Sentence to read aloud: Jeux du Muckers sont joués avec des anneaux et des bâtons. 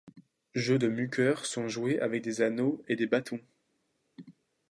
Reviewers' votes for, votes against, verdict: 2, 3, rejected